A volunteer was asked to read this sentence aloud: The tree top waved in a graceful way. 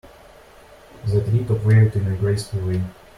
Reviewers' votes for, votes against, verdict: 0, 2, rejected